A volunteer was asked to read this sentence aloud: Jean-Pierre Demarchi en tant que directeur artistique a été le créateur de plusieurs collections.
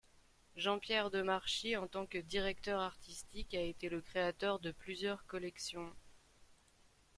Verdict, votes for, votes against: accepted, 2, 1